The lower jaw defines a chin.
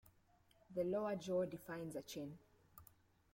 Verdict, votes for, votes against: accepted, 2, 0